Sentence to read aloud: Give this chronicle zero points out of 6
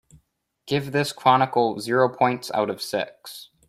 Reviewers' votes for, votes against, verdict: 0, 2, rejected